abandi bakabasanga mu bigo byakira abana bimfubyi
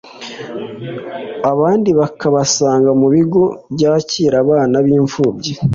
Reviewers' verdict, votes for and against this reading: accepted, 2, 0